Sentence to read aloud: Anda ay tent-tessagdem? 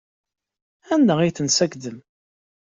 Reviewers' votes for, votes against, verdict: 2, 0, accepted